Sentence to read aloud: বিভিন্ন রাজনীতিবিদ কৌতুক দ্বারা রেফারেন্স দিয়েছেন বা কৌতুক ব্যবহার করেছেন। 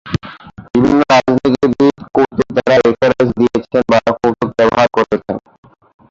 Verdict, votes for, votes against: rejected, 0, 2